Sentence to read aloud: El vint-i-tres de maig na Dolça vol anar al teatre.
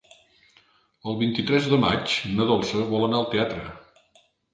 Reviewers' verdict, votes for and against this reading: accepted, 2, 0